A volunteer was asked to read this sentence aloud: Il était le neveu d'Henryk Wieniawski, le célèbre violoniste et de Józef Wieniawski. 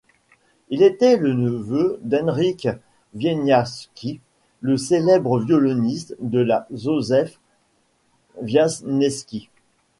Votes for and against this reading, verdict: 1, 2, rejected